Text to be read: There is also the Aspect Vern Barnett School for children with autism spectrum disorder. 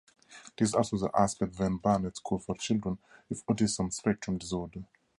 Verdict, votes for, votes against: rejected, 2, 2